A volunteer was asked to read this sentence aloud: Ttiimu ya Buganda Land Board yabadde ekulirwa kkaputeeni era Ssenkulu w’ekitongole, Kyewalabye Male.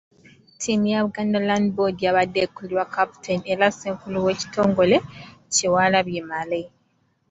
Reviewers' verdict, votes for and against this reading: accepted, 2, 0